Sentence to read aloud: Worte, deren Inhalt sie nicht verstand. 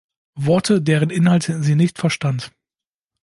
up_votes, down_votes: 1, 2